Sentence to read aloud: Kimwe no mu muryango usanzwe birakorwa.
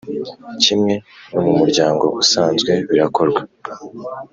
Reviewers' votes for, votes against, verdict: 2, 0, accepted